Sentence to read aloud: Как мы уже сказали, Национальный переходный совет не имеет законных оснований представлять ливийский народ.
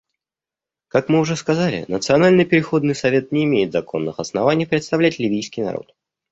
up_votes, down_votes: 2, 0